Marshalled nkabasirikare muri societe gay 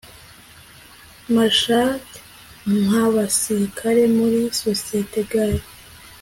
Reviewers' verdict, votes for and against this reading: accepted, 2, 0